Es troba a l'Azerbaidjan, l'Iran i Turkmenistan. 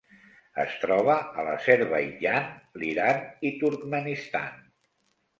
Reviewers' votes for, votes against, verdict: 3, 0, accepted